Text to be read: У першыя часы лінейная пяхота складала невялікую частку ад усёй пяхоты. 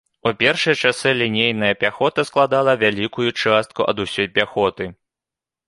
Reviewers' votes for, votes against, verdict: 0, 2, rejected